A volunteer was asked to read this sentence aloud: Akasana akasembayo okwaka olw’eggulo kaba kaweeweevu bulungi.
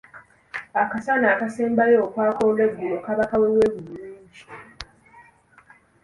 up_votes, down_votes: 2, 0